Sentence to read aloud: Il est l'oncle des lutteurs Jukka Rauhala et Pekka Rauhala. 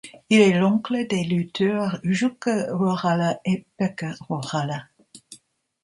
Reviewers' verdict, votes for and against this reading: accepted, 2, 0